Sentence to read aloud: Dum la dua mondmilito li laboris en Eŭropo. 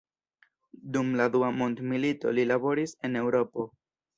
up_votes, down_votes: 1, 2